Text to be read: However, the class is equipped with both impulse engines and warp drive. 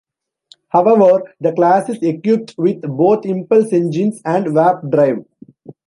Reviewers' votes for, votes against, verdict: 0, 2, rejected